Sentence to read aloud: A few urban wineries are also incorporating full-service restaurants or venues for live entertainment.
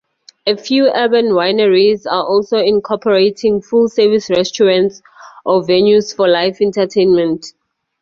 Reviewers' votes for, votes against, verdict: 4, 0, accepted